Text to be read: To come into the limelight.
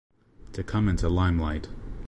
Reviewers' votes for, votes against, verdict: 1, 2, rejected